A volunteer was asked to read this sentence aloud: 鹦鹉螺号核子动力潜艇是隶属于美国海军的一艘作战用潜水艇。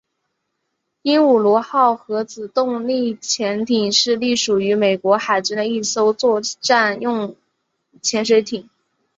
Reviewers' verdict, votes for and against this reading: accepted, 3, 0